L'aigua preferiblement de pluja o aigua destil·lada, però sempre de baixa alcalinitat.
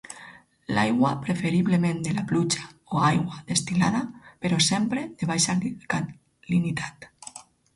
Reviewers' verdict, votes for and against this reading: rejected, 2, 4